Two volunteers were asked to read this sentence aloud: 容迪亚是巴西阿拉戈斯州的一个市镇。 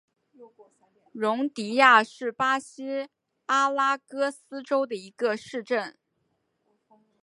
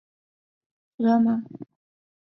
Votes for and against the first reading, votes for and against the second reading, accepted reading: 2, 1, 0, 3, first